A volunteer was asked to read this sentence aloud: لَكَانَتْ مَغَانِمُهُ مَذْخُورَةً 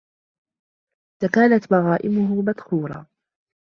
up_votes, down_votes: 1, 2